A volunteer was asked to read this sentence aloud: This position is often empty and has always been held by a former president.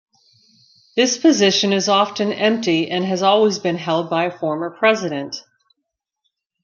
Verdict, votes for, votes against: rejected, 0, 2